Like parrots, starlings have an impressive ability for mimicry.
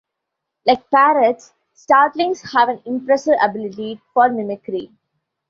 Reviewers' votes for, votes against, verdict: 2, 1, accepted